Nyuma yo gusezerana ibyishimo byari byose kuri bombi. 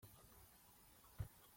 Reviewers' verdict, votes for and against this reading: rejected, 0, 2